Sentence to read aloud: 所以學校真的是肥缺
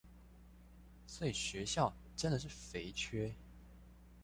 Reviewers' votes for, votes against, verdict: 2, 0, accepted